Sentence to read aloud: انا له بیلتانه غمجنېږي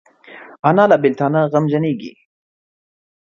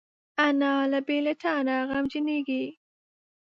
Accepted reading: first